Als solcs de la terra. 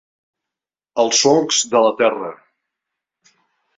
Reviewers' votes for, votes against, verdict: 3, 0, accepted